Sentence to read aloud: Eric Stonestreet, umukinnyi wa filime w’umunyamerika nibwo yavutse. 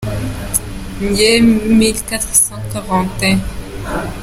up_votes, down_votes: 0, 3